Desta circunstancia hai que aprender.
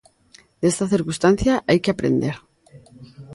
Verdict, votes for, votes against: accepted, 2, 0